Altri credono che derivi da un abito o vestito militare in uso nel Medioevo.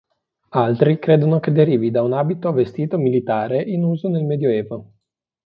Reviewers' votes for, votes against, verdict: 2, 0, accepted